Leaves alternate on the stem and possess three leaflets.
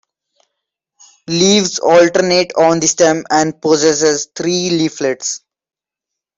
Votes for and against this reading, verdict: 0, 2, rejected